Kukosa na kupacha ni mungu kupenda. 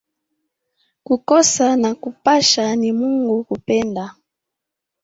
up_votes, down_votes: 0, 2